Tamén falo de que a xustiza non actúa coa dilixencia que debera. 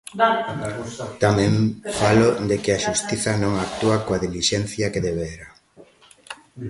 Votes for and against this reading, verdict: 1, 2, rejected